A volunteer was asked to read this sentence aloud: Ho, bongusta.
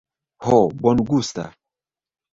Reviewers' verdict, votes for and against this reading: rejected, 0, 2